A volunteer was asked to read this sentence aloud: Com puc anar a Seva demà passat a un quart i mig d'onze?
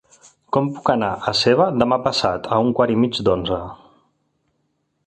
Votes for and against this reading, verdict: 2, 3, rejected